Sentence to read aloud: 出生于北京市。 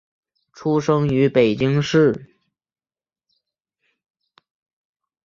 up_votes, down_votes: 2, 0